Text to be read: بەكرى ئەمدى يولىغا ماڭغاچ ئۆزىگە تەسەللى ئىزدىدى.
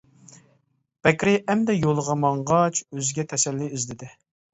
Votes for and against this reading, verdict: 2, 0, accepted